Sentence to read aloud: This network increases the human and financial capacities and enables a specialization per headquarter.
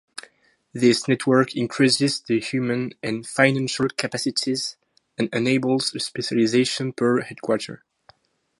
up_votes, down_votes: 2, 0